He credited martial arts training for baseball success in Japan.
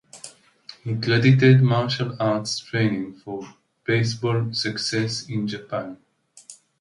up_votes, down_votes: 2, 0